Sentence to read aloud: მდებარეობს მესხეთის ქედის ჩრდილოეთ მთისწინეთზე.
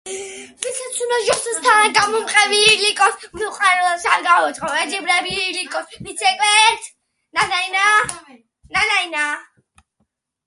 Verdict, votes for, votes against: rejected, 0, 2